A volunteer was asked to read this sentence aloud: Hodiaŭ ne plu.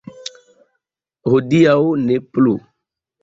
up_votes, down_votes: 2, 0